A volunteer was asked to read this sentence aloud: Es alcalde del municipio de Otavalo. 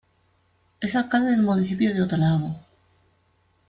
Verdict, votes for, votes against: rejected, 1, 2